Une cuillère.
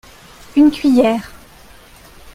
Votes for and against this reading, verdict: 2, 0, accepted